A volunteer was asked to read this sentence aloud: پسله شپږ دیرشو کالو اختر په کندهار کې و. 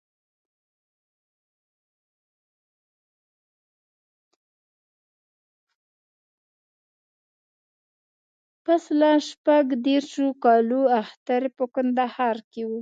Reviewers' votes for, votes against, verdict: 0, 2, rejected